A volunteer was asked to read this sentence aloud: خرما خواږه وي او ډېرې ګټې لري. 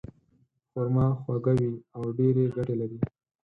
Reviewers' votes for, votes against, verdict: 4, 0, accepted